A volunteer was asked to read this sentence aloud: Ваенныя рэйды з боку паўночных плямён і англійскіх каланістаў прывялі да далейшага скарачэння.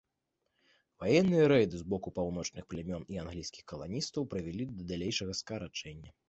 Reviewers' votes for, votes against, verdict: 2, 0, accepted